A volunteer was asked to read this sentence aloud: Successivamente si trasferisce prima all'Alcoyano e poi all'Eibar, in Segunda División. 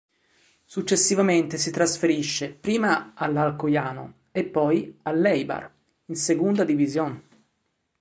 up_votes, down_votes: 2, 0